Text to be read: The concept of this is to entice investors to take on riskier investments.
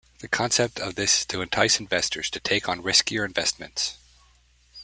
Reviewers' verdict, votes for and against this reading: rejected, 1, 2